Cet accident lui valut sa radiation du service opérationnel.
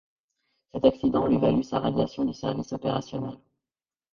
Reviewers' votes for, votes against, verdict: 0, 2, rejected